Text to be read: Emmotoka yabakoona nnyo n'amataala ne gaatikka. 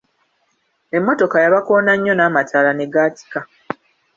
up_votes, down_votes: 2, 0